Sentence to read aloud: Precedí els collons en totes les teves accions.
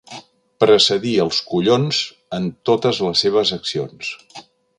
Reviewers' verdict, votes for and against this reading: rejected, 0, 2